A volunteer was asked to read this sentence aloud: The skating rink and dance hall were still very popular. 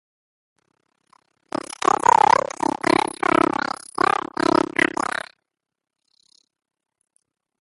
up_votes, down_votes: 0, 2